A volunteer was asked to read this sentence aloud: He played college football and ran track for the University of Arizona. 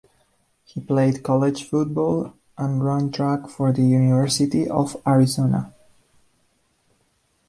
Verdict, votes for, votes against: accepted, 2, 0